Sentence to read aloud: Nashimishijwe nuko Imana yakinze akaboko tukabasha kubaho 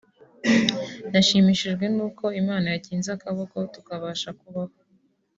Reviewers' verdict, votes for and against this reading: accepted, 2, 1